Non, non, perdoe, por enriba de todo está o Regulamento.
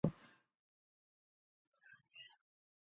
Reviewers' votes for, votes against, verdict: 0, 2, rejected